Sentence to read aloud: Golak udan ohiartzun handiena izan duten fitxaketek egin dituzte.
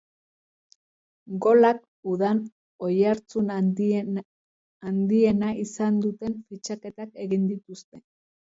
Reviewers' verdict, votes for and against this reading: rejected, 0, 2